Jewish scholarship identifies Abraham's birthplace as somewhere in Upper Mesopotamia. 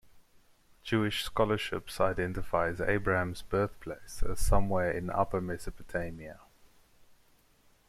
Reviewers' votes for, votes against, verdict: 0, 2, rejected